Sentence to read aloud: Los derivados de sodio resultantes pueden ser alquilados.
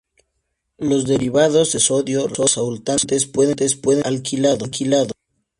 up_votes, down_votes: 0, 2